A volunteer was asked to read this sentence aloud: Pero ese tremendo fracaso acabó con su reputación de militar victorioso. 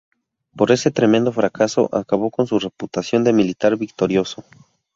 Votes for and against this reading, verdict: 0, 2, rejected